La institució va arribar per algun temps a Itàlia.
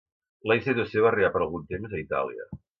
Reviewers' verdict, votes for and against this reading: accepted, 2, 0